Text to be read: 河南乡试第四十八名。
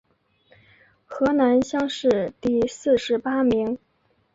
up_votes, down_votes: 2, 0